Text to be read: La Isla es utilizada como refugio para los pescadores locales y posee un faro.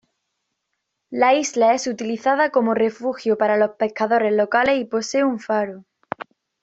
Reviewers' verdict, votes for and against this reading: accepted, 2, 0